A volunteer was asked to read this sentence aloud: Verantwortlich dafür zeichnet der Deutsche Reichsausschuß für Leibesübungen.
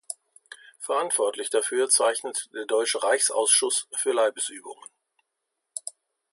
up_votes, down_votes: 2, 0